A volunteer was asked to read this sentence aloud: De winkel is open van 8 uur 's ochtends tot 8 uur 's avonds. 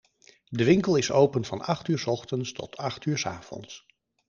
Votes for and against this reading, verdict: 0, 2, rejected